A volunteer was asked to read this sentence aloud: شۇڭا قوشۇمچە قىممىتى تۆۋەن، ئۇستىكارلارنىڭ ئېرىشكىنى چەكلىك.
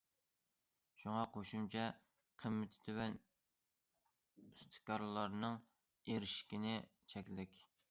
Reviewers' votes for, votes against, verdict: 2, 0, accepted